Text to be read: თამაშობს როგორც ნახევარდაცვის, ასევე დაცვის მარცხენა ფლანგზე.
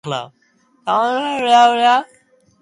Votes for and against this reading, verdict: 0, 2, rejected